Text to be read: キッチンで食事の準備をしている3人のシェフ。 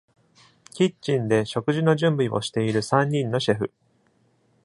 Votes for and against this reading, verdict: 0, 2, rejected